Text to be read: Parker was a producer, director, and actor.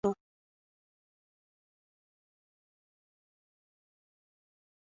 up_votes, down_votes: 0, 2